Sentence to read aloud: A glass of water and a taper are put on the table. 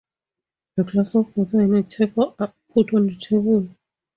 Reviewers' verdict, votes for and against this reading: accepted, 4, 0